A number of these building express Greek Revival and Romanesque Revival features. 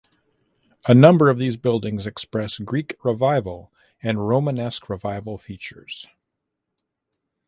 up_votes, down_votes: 2, 1